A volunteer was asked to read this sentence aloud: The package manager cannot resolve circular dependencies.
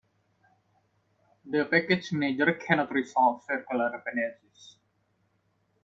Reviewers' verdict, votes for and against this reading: rejected, 1, 2